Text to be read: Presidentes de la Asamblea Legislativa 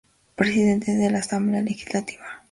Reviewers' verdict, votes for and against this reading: accepted, 2, 0